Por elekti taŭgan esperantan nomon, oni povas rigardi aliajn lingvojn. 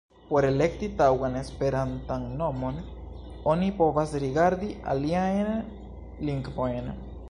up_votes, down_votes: 1, 2